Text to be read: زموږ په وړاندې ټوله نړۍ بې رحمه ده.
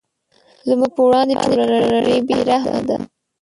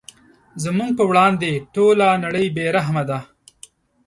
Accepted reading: second